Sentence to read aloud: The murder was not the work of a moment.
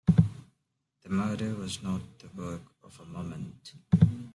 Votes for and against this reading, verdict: 1, 2, rejected